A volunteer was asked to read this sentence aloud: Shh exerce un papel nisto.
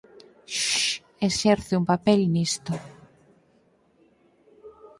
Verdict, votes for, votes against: accepted, 4, 0